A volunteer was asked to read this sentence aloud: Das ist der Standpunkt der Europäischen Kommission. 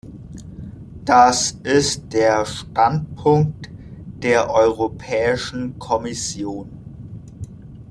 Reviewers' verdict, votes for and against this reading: rejected, 1, 2